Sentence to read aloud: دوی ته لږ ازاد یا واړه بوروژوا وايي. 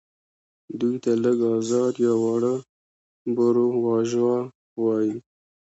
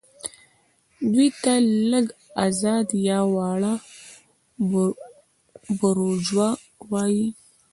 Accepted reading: first